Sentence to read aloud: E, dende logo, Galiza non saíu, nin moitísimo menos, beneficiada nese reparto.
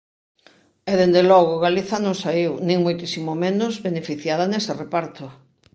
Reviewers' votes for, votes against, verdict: 2, 0, accepted